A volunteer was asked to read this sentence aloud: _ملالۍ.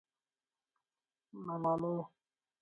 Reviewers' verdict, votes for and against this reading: rejected, 0, 4